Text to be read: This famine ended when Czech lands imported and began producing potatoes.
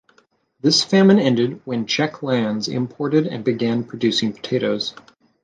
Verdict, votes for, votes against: accepted, 2, 0